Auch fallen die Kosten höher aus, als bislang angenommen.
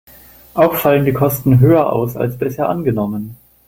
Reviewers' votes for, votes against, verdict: 0, 2, rejected